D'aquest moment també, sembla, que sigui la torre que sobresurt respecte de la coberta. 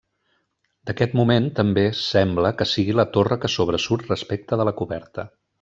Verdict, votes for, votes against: accepted, 3, 0